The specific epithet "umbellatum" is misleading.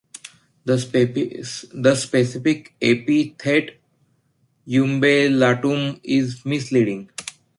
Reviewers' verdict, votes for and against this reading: rejected, 0, 2